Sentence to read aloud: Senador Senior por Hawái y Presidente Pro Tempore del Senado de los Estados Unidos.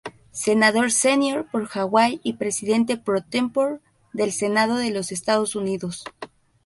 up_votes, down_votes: 0, 2